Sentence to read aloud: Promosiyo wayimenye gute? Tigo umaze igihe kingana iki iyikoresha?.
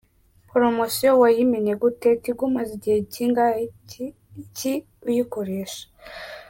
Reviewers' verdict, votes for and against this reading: rejected, 0, 2